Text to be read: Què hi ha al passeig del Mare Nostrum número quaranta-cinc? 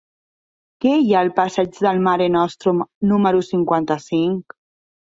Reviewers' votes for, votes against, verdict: 0, 2, rejected